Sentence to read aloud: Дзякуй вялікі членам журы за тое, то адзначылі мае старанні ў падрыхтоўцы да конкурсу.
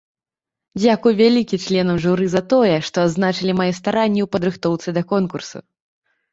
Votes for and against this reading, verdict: 1, 2, rejected